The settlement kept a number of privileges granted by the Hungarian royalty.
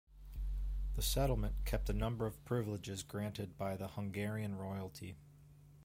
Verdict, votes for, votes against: accepted, 2, 1